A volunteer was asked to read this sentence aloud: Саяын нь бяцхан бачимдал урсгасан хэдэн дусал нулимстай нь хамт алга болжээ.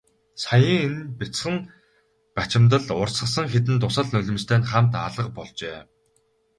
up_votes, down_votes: 2, 4